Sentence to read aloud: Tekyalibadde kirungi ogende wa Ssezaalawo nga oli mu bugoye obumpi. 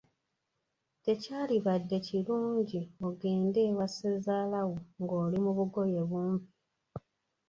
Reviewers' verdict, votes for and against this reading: rejected, 1, 2